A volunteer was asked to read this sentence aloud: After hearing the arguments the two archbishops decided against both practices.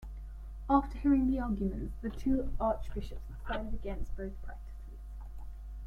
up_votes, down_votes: 0, 2